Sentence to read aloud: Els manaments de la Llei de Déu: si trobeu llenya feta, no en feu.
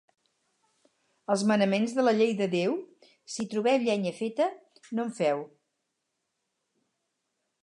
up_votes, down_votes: 2, 2